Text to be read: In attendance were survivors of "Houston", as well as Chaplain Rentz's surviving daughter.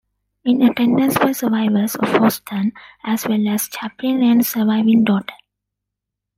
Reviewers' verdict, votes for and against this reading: rejected, 0, 2